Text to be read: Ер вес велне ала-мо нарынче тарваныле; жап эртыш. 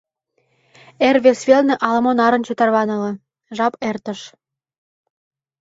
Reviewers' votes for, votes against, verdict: 1, 2, rejected